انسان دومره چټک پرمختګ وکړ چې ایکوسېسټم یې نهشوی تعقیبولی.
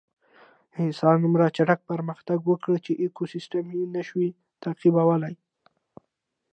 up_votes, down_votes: 2, 0